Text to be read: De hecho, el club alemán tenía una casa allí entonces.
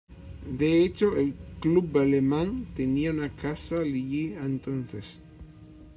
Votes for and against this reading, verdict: 0, 2, rejected